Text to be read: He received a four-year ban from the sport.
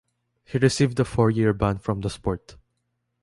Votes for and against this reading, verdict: 2, 0, accepted